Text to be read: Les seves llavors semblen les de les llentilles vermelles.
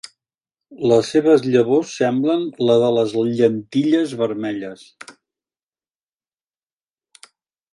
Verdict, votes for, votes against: rejected, 1, 2